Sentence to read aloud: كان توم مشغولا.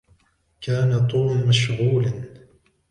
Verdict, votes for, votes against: accepted, 2, 0